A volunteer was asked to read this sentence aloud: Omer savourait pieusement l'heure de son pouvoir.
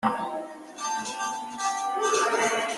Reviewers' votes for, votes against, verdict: 1, 2, rejected